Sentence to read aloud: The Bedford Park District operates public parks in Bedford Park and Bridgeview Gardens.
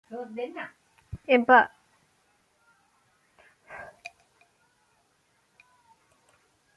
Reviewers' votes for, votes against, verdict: 0, 2, rejected